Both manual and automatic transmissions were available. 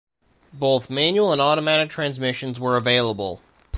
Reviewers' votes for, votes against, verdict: 0, 2, rejected